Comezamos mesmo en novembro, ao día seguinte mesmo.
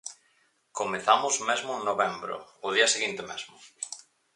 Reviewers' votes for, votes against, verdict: 4, 0, accepted